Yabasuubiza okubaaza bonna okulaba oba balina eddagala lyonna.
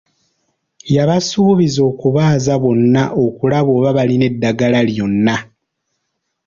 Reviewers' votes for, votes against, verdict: 2, 1, accepted